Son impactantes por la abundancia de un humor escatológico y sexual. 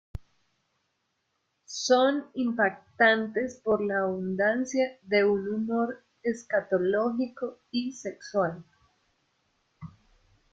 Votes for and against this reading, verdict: 2, 3, rejected